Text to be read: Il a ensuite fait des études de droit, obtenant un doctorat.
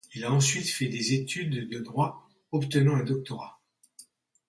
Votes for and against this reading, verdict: 2, 0, accepted